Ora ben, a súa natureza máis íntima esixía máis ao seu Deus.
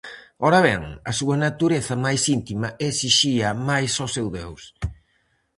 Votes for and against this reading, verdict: 2, 2, rejected